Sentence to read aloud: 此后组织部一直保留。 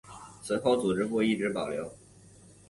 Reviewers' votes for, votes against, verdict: 3, 1, accepted